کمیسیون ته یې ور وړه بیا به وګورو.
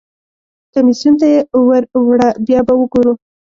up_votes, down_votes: 1, 2